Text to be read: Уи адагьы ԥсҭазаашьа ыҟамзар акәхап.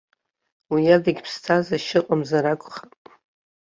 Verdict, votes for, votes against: accepted, 2, 1